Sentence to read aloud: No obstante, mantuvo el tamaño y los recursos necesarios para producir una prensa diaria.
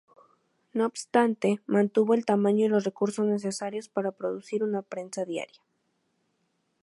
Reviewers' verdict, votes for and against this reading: accepted, 2, 0